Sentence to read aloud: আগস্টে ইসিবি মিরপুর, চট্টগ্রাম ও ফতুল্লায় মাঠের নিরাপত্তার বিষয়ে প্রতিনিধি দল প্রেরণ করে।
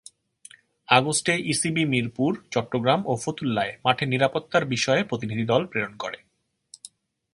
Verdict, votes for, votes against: accepted, 2, 0